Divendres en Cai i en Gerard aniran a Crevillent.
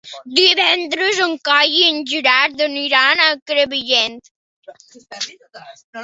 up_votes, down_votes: 3, 1